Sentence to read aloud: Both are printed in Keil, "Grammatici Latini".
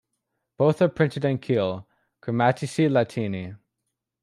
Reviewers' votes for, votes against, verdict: 3, 0, accepted